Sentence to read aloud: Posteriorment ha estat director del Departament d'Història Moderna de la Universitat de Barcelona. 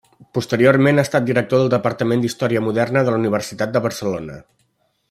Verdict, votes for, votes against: accepted, 3, 0